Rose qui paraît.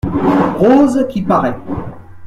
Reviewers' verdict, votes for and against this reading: rejected, 1, 2